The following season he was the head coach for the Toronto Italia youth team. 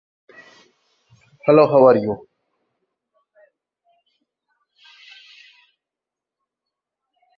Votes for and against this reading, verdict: 0, 2, rejected